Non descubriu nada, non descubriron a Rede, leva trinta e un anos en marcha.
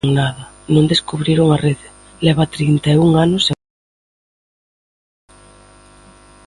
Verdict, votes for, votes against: rejected, 0, 2